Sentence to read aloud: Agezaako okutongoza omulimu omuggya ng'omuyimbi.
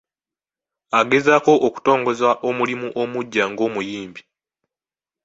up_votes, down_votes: 2, 0